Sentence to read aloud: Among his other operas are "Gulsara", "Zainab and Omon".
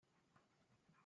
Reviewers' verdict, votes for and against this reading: rejected, 0, 2